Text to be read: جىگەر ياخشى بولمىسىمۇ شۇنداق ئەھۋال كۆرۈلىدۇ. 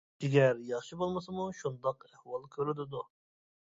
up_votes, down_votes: 2, 0